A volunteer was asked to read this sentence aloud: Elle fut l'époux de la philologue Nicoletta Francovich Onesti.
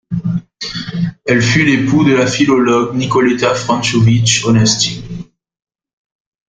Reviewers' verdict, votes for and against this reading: accepted, 2, 1